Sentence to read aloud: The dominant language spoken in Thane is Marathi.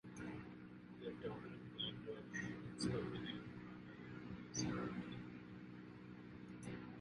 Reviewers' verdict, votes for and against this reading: rejected, 0, 2